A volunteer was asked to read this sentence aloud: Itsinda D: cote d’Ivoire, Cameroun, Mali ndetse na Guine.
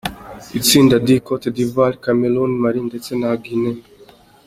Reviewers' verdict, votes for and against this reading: accepted, 2, 0